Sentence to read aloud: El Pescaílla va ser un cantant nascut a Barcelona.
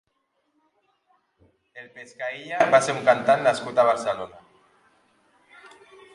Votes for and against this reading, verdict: 1, 2, rejected